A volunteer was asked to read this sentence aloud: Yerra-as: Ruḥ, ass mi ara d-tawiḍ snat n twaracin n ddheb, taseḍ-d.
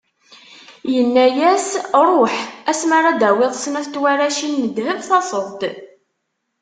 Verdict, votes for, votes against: rejected, 0, 2